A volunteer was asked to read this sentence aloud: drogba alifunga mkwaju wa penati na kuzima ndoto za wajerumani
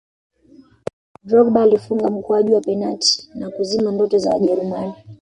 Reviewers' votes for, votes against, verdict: 1, 2, rejected